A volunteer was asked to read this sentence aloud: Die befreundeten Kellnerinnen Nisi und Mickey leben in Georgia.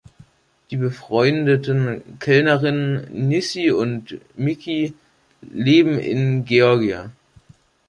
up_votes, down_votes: 1, 2